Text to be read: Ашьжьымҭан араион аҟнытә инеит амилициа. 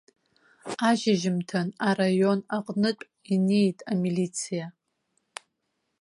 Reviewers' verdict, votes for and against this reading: accepted, 2, 0